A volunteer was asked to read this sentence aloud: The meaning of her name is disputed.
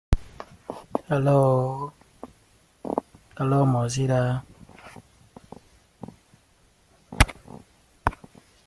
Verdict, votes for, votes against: rejected, 0, 2